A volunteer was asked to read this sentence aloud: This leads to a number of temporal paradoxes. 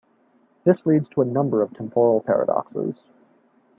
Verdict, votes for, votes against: rejected, 0, 2